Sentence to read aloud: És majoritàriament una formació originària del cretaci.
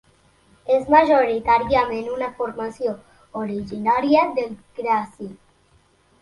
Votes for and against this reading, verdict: 0, 2, rejected